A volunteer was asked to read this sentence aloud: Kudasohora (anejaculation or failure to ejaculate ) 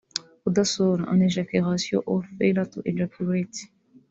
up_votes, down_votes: 0, 2